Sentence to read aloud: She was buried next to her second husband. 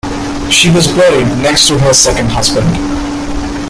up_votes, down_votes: 2, 1